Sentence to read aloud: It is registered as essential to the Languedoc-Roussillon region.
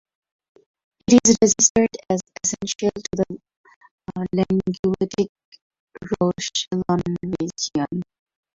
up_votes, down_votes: 0, 4